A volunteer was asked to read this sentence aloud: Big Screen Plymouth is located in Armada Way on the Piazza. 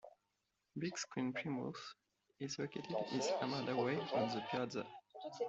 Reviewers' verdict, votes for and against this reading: accepted, 2, 1